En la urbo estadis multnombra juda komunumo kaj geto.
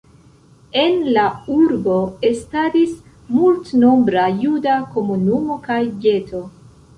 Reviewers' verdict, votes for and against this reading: rejected, 0, 2